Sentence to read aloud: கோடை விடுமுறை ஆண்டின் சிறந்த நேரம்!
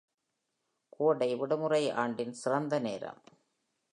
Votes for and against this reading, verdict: 2, 0, accepted